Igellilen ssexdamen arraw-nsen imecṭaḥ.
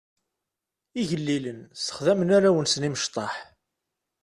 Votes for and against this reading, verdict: 2, 0, accepted